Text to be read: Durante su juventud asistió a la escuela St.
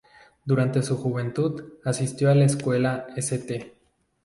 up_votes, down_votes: 2, 0